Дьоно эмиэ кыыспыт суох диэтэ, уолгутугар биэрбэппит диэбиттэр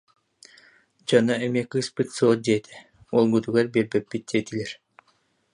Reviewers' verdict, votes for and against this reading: rejected, 0, 2